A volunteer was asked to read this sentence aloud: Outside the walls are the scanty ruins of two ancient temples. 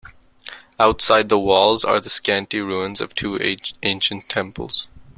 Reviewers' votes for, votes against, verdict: 1, 2, rejected